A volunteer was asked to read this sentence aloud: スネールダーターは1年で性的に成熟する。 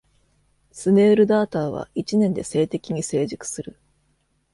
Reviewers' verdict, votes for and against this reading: rejected, 0, 2